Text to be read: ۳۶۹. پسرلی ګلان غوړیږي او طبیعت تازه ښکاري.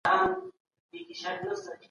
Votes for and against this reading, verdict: 0, 2, rejected